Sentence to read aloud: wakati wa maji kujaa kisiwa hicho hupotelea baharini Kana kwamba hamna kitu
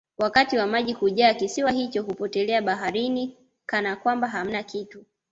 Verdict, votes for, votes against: accepted, 2, 0